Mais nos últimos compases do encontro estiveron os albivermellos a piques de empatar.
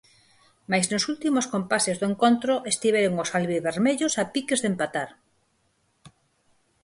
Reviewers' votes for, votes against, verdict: 4, 0, accepted